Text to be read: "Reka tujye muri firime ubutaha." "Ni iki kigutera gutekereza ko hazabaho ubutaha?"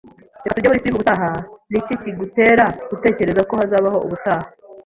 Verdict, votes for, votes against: rejected, 1, 2